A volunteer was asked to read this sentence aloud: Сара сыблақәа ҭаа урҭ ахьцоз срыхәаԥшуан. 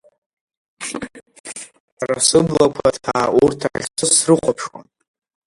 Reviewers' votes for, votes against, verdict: 0, 2, rejected